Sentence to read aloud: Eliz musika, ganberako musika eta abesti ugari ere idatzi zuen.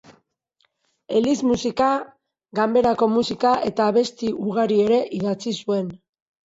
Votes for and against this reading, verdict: 0, 2, rejected